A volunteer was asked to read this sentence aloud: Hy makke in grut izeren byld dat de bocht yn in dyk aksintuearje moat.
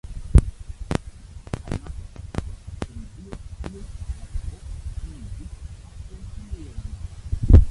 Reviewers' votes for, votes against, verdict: 0, 2, rejected